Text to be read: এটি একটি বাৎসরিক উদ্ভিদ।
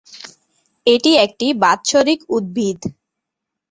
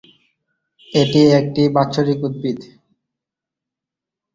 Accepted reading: first